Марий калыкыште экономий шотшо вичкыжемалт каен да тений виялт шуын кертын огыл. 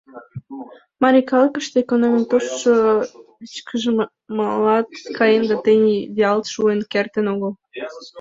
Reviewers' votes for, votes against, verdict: 0, 2, rejected